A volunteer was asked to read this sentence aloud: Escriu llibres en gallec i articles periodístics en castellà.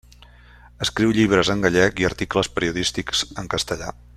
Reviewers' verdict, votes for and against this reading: accepted, 3, 0